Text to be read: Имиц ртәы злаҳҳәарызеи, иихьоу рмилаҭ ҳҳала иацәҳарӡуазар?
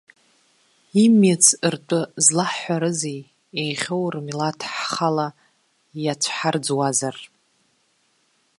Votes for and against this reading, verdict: 2, 0, accepted